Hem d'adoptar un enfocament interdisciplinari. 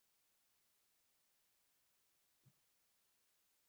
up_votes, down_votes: 0, 2